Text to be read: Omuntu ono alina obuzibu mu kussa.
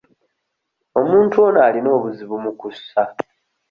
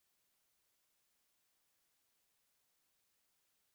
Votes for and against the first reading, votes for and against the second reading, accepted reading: 2, 0, 0, 2, first